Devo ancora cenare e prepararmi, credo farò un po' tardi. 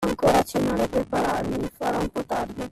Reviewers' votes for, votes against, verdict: 0, 2, rejected